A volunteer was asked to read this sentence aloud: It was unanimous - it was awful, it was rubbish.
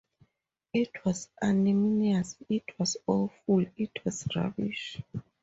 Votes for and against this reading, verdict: 2, 4, rejected